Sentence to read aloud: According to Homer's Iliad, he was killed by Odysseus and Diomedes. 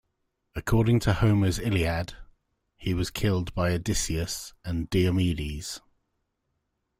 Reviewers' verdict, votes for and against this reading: accepted, 2, 0